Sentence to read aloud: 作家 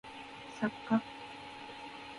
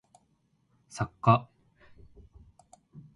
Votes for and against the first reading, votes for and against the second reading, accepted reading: 1, 2, 2, 0, second